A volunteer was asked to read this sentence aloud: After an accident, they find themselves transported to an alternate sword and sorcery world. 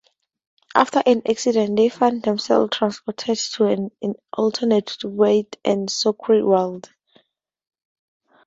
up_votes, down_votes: 0, 2